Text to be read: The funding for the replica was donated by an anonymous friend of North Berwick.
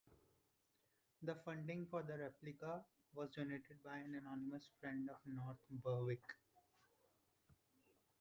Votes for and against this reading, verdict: 1, 2, rejected